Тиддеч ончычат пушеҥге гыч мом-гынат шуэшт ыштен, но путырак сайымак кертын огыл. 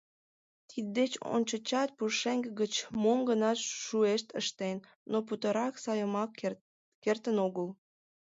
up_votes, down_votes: 2, 1